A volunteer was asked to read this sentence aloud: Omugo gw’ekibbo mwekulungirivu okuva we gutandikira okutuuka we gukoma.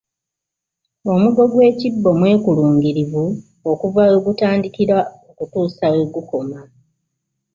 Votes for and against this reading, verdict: 2, 0, accepted